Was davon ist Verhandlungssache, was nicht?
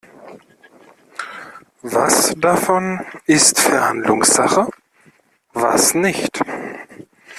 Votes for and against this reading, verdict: 2, 0, accepted